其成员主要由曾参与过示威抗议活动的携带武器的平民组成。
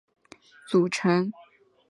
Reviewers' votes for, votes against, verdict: 0, 3, rejected